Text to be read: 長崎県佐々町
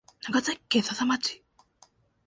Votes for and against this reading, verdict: 1, 2, rejected